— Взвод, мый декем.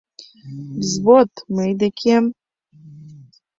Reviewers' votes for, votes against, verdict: 2, 0, accepted